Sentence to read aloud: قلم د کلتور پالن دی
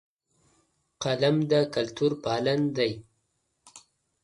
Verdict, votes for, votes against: accepted, 2, 1